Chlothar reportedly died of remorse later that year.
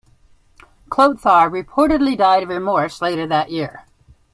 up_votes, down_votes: 2, 1